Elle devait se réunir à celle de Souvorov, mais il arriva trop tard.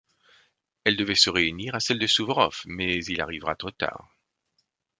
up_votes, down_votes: 1, 2